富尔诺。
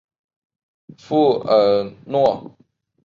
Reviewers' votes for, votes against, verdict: 3, 0, accepted